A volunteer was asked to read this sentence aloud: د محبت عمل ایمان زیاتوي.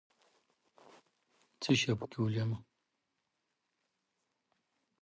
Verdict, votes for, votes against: rejected, 1, 2